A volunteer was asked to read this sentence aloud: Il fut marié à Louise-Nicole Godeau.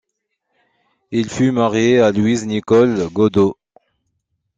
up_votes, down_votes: 2, 1